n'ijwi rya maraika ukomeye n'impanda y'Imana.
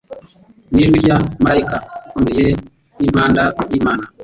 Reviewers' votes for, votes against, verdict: 1, 2, rejected